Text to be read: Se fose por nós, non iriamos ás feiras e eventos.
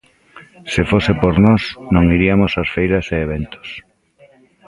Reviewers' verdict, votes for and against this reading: rejected, 1, 2